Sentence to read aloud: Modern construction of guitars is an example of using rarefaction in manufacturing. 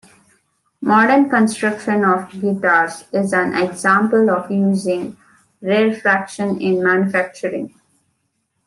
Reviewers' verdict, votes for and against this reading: accepted, 2, 1